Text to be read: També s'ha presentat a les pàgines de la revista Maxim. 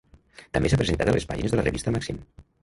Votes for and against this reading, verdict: 0, 2, rejected